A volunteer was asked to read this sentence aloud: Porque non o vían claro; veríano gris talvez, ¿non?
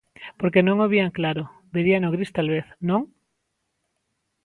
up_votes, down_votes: 2, 0